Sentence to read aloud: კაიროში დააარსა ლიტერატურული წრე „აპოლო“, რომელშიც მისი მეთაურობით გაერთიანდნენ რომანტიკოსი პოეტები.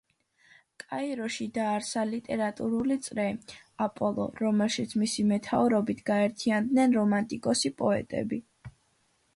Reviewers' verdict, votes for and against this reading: accepted, 2, 0